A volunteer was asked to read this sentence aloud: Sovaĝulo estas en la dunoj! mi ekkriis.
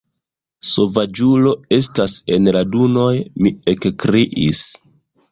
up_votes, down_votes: 0, 2